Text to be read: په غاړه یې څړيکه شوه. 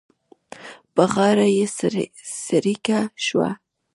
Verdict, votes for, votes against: rejected, 0, 2